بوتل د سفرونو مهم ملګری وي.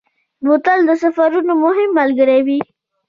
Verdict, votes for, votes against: accepted, 2, 0